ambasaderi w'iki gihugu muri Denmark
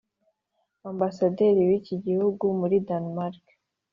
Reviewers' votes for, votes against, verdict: 3, 0, accepted